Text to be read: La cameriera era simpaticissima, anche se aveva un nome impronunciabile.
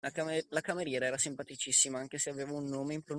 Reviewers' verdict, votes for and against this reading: rejected, 0, 2